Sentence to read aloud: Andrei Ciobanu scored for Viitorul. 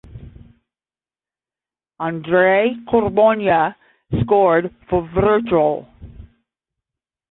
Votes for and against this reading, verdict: 0, 5, rejected